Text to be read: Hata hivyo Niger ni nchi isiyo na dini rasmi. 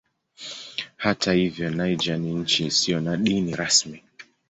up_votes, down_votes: 15, 0